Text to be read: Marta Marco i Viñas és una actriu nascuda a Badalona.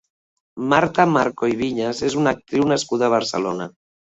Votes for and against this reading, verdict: 0, 2, rejected